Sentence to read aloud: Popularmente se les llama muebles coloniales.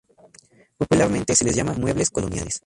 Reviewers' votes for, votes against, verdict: 2, 0, accepted